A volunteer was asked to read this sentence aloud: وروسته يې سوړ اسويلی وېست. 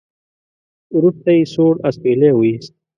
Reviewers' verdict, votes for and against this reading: accepted, 2, 0